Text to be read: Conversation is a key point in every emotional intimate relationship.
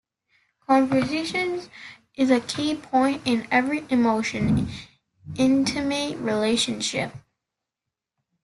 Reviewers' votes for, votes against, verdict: 0, 2, rejected